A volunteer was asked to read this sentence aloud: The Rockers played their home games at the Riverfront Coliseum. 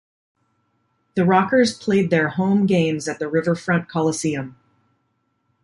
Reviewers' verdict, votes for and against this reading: accepted, 2, 0